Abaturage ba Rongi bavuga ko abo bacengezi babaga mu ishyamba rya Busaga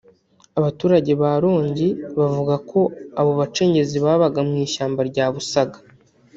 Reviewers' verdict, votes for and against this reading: rejected, 0, 2